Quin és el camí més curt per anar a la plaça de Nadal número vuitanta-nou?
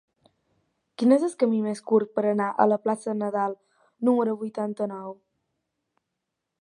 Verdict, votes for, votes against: rejected, 0, 10